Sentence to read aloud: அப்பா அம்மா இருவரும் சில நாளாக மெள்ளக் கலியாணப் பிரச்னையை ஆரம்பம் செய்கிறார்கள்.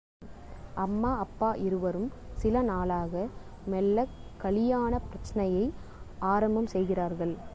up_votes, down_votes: 1, 2